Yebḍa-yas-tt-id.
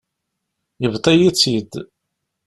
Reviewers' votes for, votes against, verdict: 0, 2, rejected